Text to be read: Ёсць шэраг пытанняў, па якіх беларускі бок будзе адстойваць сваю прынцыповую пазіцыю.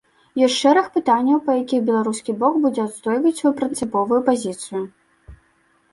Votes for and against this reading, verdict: 2, 0, accepted